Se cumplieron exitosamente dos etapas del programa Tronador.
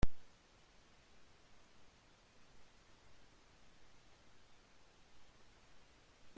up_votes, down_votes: 0, 2